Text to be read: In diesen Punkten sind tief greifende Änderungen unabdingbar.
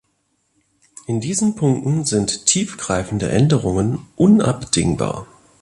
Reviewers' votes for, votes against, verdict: 3, 0, accepted